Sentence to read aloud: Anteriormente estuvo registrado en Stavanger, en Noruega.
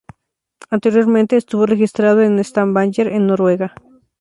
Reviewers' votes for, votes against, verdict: 2, 0, accepted